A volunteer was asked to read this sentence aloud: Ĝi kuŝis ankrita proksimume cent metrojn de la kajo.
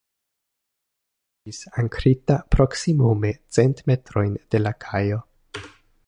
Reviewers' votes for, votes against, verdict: 1, 2, rejected